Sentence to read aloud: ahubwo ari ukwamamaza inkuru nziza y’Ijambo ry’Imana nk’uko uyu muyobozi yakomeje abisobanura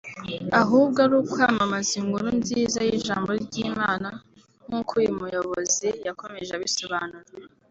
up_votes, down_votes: 2, 0